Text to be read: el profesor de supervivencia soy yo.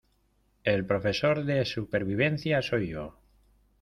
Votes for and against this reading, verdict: 2, 0, accepted